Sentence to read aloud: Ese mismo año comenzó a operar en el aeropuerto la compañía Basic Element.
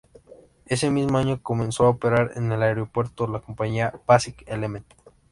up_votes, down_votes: 2, 0